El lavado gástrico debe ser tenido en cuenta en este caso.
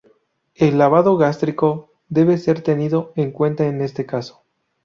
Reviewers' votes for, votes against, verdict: 2, 0, accepted